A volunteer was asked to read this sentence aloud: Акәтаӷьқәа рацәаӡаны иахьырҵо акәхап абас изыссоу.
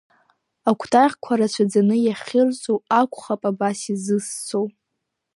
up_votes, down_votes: 0, 2